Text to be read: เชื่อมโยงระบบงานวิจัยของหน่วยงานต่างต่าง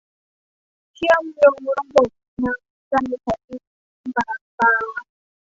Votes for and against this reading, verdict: 1, 2, rejected